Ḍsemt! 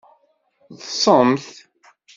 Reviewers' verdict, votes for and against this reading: accepted, 2, 0